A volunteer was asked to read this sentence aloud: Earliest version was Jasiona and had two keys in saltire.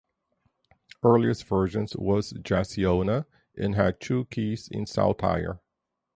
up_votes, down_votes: 2, 4